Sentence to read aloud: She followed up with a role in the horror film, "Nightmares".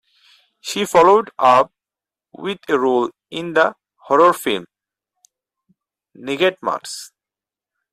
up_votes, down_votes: 0, 4